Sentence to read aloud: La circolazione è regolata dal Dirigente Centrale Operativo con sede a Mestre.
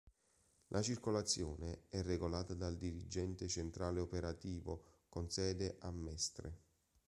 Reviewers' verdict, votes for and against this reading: accepted, 2, 0